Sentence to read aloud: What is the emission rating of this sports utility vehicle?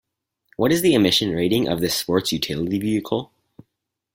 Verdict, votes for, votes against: accepted, 4, 0